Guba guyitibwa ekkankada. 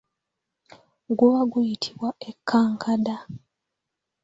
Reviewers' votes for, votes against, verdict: 2, 0, accepted